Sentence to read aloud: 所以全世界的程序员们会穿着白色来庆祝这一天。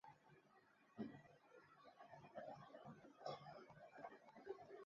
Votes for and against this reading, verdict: 1, 3, rejected